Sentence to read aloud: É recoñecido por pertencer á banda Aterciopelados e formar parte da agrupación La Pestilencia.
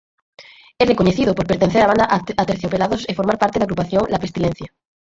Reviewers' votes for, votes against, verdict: 0, 4, rejected